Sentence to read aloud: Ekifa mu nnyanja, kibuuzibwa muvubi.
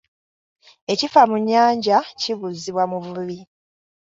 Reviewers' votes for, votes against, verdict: 2, 0, accepted